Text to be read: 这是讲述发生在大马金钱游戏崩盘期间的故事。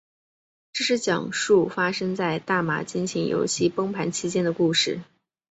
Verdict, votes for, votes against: accepted, 2, 0